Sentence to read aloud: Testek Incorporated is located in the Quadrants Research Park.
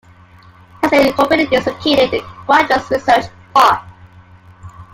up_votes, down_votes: 1, 2